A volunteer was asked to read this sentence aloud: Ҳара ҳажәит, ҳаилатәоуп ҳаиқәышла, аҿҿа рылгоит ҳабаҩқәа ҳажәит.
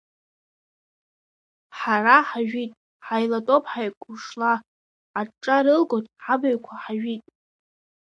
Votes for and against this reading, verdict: 0, 2, rejected